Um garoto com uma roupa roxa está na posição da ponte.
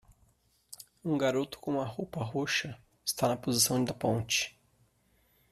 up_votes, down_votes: 1, 2